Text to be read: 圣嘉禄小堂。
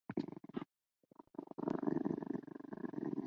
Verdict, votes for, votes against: rejected, 0, 2